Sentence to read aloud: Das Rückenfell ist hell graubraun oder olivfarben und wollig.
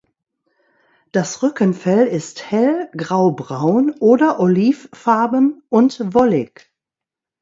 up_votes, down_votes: 2, 0